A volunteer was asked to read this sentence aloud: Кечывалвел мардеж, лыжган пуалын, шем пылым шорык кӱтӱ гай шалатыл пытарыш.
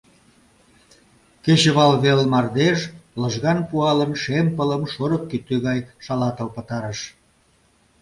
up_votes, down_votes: 2, 0